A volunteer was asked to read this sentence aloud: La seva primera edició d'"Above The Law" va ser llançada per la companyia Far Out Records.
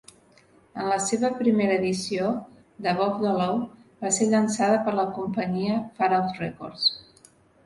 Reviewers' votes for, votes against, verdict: 1, 2, rejected